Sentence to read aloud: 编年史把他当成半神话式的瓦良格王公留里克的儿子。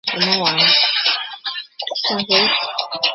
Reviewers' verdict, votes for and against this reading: rejected, 1, 2